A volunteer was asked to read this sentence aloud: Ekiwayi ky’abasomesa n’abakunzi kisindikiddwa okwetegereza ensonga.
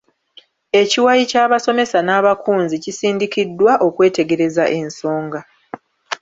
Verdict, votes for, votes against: rejected, 1, 2